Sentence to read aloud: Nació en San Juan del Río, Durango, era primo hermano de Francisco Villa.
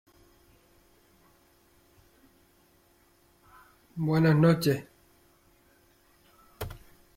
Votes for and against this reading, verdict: 0, 2, rejected